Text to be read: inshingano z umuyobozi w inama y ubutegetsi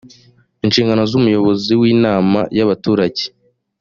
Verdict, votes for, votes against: rejected, 0, 2